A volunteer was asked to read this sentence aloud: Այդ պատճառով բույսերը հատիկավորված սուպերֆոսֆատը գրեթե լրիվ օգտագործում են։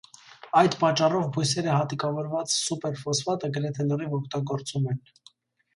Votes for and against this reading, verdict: 2, 0, accepted